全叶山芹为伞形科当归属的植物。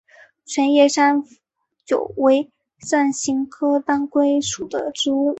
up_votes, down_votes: 1, 2